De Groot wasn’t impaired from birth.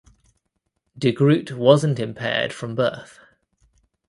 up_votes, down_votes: 2, 0